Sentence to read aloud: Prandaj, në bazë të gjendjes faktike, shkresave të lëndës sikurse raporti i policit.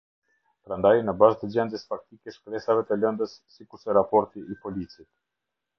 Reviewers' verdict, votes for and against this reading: accepted, 2, 0